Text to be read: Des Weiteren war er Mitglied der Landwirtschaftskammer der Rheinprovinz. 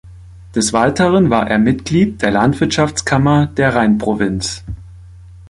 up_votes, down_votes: 2, 0